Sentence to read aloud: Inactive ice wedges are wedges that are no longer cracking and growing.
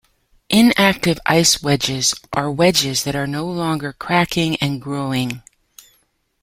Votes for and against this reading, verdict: 2, 0, accepted